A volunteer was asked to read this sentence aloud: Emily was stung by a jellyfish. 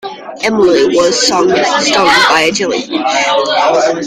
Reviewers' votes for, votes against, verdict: 0, 2, rejected